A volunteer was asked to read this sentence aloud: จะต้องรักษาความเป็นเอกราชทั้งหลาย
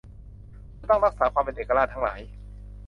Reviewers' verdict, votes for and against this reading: rejected, 1, 2